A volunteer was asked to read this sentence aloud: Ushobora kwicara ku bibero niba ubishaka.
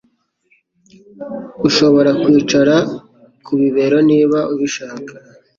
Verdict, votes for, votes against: accepted, 2, 0